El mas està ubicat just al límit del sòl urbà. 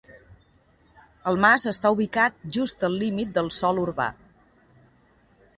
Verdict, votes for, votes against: accepted, 2, 0